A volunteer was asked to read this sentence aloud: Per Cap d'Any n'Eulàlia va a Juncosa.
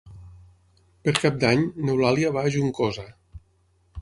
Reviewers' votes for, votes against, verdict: 6, 0, accepted